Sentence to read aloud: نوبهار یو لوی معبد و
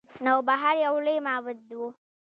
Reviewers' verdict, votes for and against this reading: rejected, 1, 2